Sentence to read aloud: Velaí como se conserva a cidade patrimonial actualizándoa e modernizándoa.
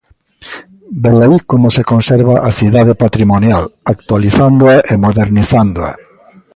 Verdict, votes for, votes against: rejected, 1, 2